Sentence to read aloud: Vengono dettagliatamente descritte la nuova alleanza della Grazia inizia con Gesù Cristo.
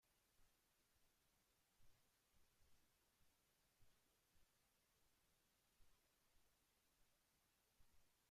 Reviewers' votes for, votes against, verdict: 0, 2, rejected